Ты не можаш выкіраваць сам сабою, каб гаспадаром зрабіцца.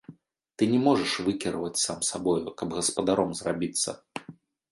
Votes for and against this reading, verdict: 0, 2, rejected